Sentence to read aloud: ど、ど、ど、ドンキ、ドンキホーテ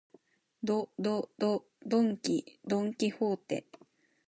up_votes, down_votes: 2, 0